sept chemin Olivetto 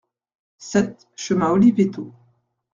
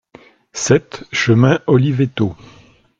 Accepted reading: second